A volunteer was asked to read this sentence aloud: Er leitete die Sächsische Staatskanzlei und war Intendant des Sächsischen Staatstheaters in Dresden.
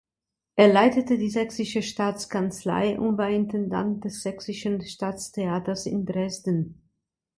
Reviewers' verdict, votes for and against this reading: accepted, 2, 1